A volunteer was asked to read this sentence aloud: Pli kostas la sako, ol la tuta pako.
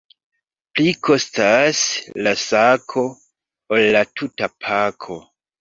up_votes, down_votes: 2, 0